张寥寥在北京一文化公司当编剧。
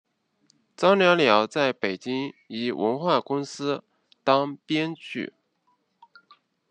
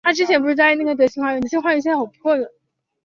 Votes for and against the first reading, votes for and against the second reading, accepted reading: 2, 0, 0, 5, first